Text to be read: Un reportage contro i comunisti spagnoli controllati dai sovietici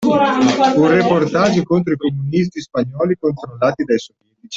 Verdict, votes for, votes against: rejected, 1, 2